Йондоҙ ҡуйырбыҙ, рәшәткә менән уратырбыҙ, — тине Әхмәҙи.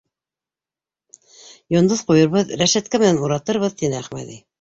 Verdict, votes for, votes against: rejected, 1, 2